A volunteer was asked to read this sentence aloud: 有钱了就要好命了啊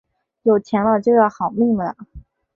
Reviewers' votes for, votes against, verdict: 3, 0, accepted